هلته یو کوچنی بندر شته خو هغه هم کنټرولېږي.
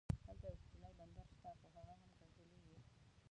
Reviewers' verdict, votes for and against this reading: rejected, 0, 2